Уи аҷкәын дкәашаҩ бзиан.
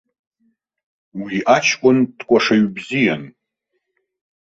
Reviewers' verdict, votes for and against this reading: accepted, 2, 0